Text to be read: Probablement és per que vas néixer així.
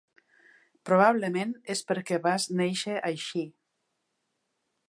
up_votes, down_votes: 2, 0